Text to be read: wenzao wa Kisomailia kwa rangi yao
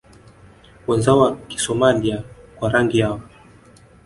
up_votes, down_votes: 1, 2